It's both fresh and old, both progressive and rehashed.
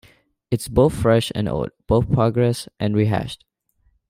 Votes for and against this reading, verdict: 1, 2, rejected